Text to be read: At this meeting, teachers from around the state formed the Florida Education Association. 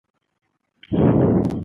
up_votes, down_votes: 0, 2